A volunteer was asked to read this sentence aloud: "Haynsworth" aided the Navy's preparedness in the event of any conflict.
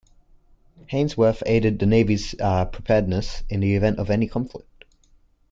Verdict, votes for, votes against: rejected, 0, 2